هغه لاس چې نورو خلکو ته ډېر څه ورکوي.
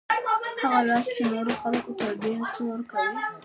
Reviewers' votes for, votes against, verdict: 0, 2, rejected